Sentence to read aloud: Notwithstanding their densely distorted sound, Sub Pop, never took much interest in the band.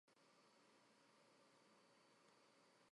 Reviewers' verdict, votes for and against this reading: rejected, 1, 2